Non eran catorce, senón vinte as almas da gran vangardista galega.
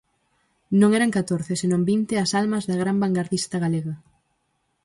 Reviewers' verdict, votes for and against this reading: accepted, 4, 0